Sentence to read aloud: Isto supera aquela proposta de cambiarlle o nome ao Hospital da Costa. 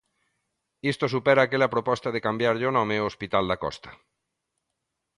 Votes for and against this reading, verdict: 2, 0, accepted